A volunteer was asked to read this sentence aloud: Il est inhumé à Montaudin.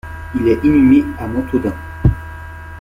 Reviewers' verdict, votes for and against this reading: rejected, 0, 2